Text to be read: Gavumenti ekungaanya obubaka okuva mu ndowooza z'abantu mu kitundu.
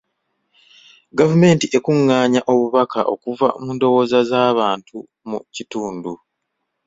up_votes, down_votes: 2, 0